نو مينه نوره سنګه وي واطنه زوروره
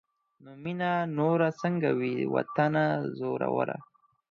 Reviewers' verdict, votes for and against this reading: rejected, 0, 4